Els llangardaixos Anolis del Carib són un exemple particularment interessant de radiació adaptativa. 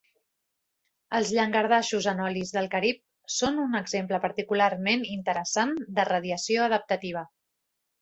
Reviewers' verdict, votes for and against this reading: accepted, 2, 0